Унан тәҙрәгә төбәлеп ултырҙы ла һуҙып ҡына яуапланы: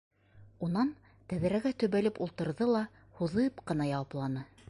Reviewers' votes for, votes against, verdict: 2, 0, accepted